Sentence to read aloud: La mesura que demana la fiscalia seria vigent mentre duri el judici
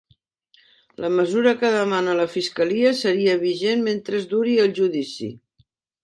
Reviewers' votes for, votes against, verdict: 0, 3, rejected